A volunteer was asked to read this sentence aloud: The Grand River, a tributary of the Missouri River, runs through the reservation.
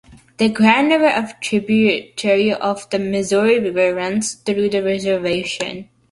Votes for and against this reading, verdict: 0, 2, rejected